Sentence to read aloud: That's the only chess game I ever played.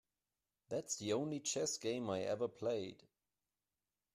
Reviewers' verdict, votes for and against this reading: accepted, 2, 0